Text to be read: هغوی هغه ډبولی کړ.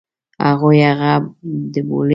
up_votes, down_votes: 0, 2